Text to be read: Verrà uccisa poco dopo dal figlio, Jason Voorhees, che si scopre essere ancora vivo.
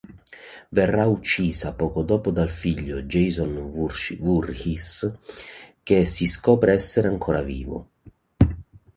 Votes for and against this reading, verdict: 0, 2, rejected